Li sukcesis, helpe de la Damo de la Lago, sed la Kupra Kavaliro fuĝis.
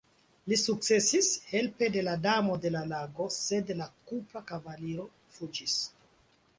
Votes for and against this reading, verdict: 2, 0, accepted